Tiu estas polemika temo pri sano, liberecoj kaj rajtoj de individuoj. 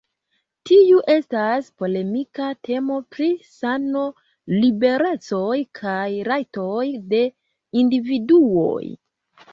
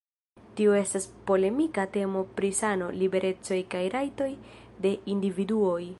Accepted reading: first